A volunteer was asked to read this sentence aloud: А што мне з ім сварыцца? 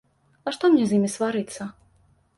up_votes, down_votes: 3, 1